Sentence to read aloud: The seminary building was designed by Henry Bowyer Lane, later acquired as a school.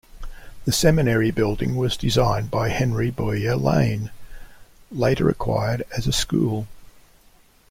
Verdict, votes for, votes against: accepted, 2, 0